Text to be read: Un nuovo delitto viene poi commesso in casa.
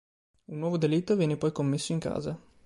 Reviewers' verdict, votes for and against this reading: accepted, 2, 0